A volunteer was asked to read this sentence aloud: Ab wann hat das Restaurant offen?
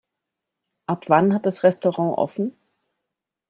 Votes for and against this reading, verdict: 2, 0, accepted